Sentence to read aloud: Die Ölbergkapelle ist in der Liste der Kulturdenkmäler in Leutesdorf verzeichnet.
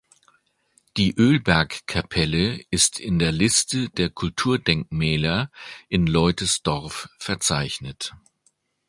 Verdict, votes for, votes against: accepted, 2, 0